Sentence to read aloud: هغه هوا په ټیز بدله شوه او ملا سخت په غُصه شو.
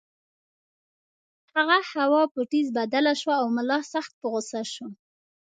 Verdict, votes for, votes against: accepted, 2, 0